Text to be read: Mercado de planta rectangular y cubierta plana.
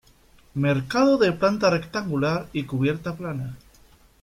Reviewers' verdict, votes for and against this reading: accepted, 2, 0